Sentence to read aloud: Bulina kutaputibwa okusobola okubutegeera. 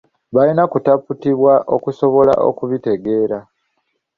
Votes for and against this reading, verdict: 0, 2, rejected